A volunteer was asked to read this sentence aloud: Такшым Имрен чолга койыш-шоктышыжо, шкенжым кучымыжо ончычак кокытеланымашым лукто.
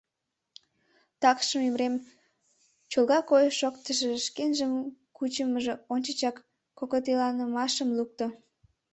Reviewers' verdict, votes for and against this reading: accepted, 2, 0